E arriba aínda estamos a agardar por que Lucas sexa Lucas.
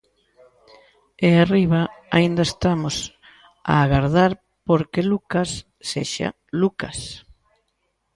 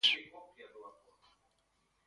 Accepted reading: first